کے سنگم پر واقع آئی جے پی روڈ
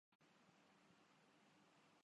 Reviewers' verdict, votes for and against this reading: rejected, 4, 6